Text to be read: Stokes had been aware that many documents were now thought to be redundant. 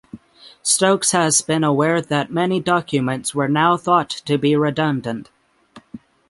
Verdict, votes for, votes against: rejected, 3, 6